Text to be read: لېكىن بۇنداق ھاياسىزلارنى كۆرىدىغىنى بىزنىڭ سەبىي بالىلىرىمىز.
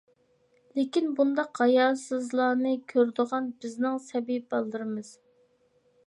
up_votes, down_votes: 0, 2